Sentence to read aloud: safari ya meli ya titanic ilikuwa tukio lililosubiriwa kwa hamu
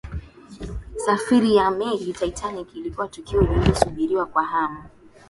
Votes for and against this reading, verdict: 2, 0, accepted